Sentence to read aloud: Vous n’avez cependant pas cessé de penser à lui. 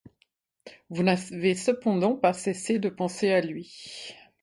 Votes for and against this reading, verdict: 0, 2, rejected